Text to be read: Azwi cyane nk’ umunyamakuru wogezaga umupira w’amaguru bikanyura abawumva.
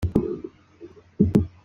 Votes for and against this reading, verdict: 0, 2, rejected